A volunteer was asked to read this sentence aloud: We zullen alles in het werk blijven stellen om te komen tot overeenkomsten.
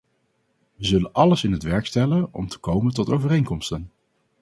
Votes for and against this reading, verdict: 0, 2, rejected